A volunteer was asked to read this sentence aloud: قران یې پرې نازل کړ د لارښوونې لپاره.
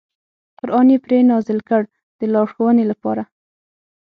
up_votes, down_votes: 6, 0